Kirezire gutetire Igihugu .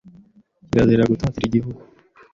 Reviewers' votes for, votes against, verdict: 1, 2, rejected